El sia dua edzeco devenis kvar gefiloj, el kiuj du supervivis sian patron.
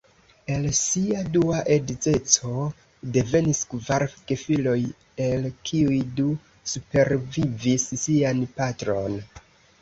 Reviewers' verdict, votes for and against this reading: rejected, 1, 2